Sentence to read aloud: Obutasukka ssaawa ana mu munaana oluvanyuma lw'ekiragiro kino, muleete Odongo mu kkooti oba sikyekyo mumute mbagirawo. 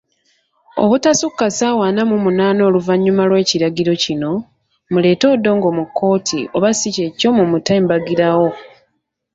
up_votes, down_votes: 2, 0